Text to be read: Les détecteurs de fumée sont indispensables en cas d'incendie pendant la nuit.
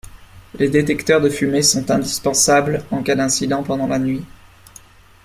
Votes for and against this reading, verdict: 0, 2, rejected